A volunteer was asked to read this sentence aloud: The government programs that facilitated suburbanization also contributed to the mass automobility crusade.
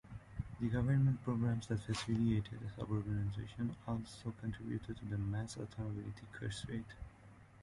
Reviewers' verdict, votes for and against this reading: accepted, 2, 0